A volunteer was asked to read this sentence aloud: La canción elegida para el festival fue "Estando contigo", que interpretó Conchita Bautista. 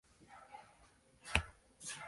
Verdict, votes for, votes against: rejected, 0, 2